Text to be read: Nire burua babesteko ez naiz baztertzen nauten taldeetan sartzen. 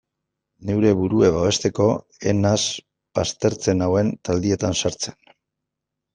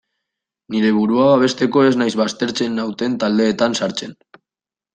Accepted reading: second